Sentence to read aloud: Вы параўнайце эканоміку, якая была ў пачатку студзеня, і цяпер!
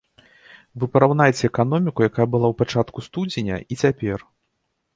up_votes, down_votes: 2, 0